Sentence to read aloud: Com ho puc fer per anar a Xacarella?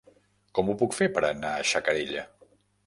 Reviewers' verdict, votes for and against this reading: rejected, 1, 2